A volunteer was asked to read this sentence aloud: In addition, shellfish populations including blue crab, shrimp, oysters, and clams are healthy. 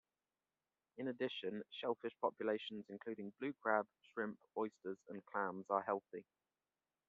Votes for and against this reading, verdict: 1, 2, rejected